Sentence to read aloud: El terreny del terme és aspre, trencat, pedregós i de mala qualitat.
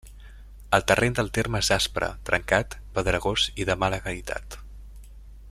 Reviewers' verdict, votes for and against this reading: rejected, 0, 2